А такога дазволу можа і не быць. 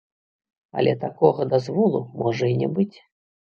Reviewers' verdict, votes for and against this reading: rejected, 1, 2